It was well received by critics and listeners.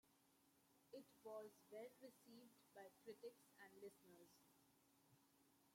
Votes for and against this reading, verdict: 2, 1, accepted